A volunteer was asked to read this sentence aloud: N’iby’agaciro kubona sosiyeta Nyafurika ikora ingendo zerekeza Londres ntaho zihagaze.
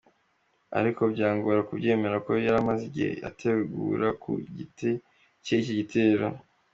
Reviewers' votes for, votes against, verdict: 0, 2, rejected